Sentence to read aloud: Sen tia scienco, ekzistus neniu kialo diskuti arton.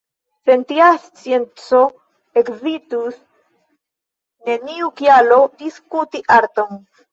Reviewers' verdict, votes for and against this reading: rejected, 1, 2